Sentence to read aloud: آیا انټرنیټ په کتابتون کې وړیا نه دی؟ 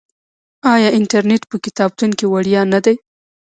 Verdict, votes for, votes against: rejected, 1, 2